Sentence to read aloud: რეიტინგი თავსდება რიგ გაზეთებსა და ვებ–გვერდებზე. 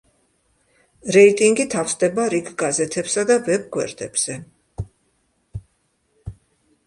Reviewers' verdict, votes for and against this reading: accepted, 2, 0